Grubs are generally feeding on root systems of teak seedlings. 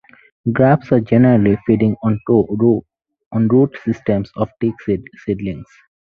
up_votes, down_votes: 2, 4